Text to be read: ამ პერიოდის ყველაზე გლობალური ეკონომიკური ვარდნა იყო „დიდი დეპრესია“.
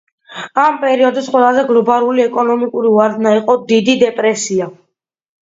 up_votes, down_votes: 2, 0